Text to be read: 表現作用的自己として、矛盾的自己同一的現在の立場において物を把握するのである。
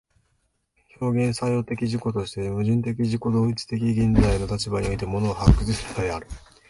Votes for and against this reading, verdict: 0, 2, rejected